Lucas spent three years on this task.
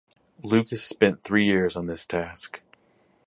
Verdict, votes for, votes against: accepted, 4, 0